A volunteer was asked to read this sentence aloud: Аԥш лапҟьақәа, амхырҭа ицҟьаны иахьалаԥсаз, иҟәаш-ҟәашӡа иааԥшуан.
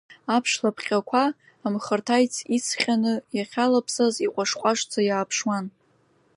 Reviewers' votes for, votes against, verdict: 2, 0, accepted